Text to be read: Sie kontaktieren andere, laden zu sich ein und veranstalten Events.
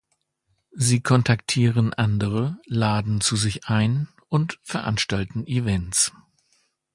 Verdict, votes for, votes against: accepted, 2, 0